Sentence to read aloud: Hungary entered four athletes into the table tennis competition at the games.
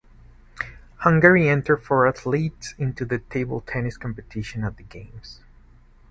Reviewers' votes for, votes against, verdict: 4, 0, accepted